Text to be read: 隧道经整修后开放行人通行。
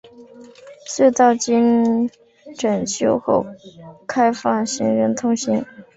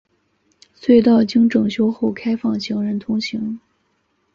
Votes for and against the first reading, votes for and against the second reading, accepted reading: 0, 2, 3, 0, second